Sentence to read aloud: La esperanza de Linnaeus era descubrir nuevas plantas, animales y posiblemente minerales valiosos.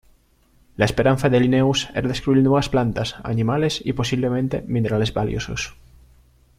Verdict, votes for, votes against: accepted, 2, 0